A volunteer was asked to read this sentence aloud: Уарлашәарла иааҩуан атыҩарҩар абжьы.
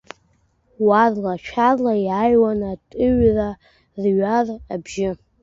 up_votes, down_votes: 0, 2